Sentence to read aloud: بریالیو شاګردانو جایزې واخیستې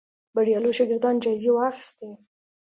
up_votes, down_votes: 2, 0